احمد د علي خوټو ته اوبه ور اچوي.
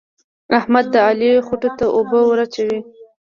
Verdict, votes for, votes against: accepted, 2, 1